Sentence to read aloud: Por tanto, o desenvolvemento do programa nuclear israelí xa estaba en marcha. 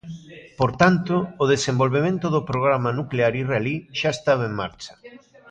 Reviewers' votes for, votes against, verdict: 0, 2, rejected